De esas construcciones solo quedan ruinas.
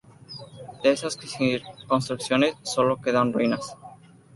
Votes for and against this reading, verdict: 0, 2, rejected